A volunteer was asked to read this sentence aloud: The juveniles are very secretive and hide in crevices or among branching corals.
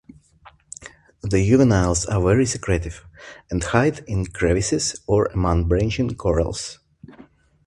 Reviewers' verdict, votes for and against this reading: accepted, 2, 0